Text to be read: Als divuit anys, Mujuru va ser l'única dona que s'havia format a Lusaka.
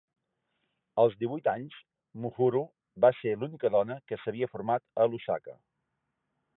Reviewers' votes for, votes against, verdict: 1, 2, rejected